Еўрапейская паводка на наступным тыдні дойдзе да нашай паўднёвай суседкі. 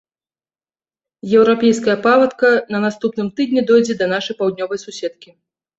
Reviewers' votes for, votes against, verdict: 0, 2, rejected